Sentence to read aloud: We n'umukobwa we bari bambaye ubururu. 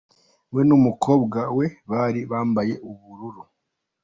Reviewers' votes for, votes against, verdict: 2, 1, accepted